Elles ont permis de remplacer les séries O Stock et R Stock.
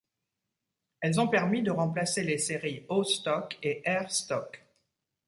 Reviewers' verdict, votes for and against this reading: accepted, 2, 0